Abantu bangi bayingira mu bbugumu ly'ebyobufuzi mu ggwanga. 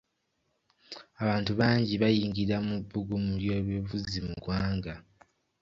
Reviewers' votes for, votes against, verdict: 2, 1, accepted